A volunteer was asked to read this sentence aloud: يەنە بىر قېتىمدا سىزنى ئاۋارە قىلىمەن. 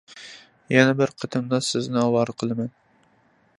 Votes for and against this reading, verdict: 3, 0, accepted